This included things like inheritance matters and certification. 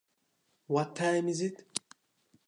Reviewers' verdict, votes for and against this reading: rejected, 0, 2